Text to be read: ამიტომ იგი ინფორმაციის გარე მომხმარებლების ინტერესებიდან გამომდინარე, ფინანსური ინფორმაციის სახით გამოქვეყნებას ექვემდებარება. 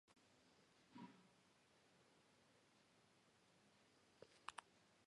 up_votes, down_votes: 2, 1